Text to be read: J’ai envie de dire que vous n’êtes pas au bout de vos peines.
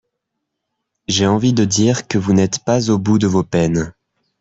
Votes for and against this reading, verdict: 2, 0, accepted